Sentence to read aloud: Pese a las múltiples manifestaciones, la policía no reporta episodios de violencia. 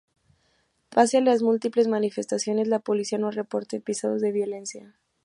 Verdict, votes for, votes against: rejected, 0, 2